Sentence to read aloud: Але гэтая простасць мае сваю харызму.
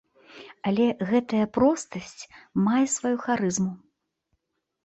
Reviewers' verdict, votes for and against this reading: accepted, 2, 0